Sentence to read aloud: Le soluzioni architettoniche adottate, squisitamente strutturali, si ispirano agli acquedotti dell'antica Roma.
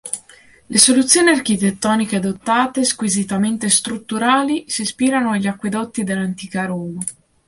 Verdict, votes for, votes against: accepted, 2, 0